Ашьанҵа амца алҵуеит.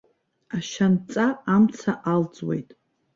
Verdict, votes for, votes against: rejected, 0, 2